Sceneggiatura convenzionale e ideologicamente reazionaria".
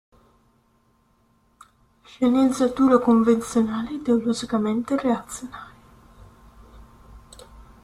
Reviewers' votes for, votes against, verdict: 1, 2, rejected